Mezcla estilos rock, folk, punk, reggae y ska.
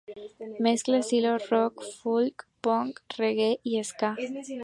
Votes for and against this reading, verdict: 2, 0, accepted